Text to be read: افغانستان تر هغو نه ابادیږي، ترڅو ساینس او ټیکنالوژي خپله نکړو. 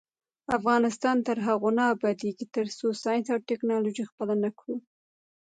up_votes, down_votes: 1, 2